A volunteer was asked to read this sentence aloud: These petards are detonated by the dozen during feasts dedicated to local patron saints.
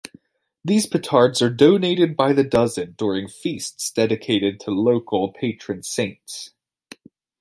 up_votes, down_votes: 1, 2